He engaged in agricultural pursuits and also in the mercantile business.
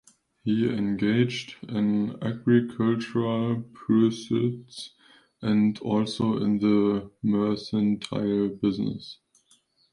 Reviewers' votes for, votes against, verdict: 1, 2, rejected